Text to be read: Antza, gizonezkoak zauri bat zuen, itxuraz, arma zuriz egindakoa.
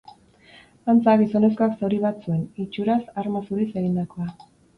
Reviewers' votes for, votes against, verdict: 2, 0, accepted